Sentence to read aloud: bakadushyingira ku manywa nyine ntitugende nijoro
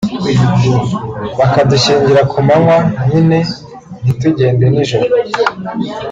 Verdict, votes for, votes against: rejected, 1, 2